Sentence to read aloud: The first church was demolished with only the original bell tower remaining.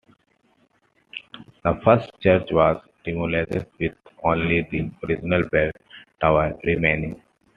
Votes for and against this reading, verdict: 0, 2, rejected